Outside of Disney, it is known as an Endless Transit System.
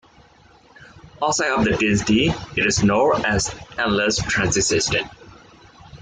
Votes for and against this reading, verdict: 0, 2, rejected